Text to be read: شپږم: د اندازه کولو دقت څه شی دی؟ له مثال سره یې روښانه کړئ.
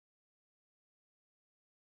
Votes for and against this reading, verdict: 1, 2, rejected